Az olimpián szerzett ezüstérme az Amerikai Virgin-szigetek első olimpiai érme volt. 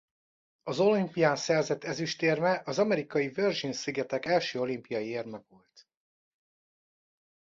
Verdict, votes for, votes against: rejected, 1, 2